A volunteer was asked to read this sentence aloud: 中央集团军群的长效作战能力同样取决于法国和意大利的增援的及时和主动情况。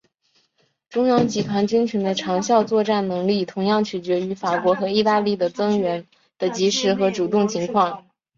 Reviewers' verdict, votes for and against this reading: rejected, 2, 2